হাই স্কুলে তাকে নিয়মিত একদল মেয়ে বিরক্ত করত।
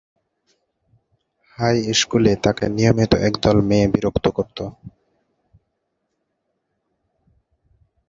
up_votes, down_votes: 1, 2